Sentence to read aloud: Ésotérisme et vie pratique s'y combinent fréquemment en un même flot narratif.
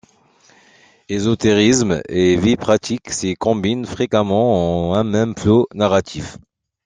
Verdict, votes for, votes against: rejected, 0, 2